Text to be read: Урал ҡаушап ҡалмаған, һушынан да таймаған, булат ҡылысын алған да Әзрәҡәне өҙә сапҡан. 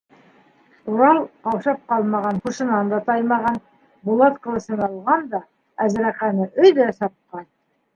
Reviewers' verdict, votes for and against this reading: accepted, 2, 0